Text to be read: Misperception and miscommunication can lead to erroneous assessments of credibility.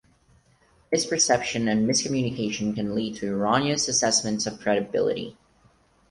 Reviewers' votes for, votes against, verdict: 4, 0, accepted